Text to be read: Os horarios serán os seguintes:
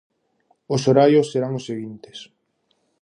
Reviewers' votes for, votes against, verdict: 4, 0, accepted